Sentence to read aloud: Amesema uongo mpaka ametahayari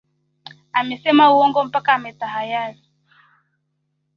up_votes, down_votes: 0, 2